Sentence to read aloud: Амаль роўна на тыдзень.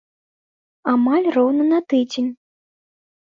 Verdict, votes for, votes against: accepted, 2, 1